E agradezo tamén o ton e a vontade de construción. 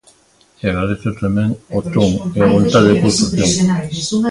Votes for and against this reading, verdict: 0, 3, rejected